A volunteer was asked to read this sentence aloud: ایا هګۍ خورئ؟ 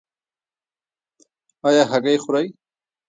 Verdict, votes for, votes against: rejected, 1, 2